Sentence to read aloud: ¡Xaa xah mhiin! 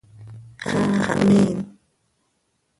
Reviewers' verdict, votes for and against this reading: rejected, 1, 2